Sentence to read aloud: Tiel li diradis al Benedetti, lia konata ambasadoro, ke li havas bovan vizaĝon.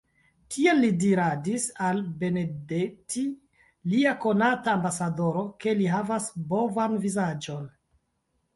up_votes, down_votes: 0, 2